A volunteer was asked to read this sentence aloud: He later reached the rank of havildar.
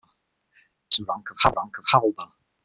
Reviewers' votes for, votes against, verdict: 0, 6, rejected